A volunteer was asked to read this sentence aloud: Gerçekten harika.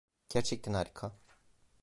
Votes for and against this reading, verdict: 2, 0, accepted